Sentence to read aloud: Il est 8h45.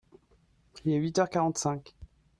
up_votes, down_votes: 0, 2